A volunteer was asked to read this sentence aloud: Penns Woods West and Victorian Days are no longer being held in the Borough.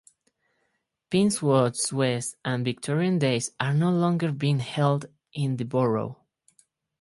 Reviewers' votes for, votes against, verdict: 4, 0, accepted